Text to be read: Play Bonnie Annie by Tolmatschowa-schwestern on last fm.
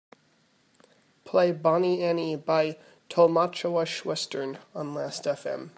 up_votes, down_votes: 2, 0